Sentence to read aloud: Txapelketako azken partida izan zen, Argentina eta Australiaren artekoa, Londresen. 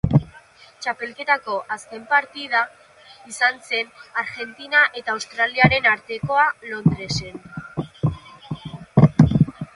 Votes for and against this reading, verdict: 2, 0, accepted